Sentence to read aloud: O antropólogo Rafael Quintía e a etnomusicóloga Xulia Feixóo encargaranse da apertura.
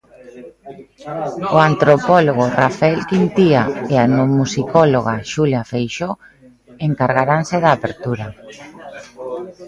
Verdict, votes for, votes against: accepted, 2, 1